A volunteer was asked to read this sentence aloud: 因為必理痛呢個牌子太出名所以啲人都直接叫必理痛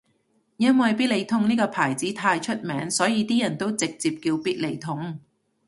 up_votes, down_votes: 2, 0